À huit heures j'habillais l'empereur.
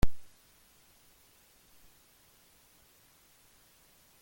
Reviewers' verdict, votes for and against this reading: rejected, 0, 2